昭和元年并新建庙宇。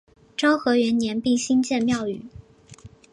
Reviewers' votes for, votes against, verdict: 2, 0, accepted